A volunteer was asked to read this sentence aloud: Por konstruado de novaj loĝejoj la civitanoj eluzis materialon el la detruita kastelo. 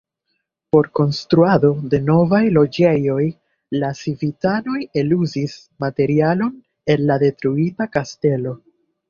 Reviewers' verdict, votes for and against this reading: rejected, 1, 2